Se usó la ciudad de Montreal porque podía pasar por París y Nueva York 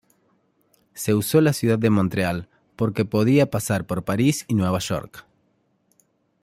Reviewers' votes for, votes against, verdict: 2, 0, accepted